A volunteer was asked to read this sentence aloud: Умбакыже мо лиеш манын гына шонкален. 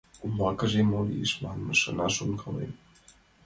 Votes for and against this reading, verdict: 0, 2, rejected